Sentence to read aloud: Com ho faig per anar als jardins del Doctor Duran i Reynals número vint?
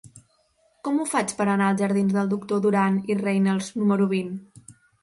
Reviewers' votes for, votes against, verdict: 4, 0, accepted